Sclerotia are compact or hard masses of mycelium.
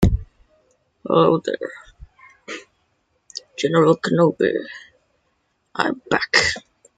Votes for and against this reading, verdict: 0, 2, rejected